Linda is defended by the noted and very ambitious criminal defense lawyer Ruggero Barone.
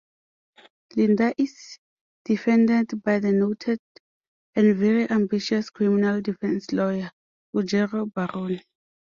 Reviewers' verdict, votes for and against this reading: accepted, 2, 0